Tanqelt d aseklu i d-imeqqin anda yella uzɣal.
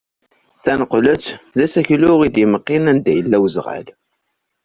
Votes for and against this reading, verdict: 2, 0, accepted